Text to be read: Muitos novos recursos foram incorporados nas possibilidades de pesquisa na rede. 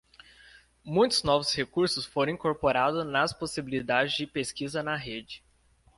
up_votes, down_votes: 0, 2